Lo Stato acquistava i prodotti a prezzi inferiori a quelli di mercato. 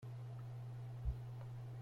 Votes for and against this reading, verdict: 0, 2, rejected